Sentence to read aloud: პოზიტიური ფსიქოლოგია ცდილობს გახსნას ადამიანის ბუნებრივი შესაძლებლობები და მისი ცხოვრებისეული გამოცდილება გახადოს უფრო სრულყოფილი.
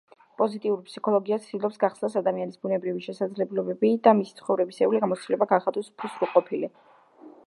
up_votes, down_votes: 1, 2